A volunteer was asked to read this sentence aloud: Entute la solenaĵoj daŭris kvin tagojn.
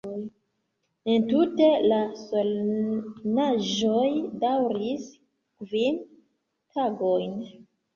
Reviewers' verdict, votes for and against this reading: rejected, 1, 2